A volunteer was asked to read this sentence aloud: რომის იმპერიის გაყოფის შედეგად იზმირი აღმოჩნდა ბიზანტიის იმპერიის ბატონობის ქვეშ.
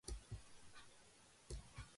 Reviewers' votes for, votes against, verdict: 0, 2, rejected